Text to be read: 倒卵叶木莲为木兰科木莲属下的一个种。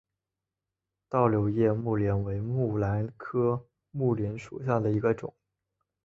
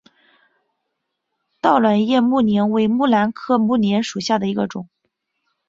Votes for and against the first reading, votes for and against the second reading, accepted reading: 0, 2, 4, 0, second